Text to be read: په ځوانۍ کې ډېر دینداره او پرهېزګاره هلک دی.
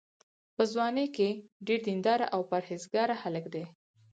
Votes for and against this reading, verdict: 4, 2, accepted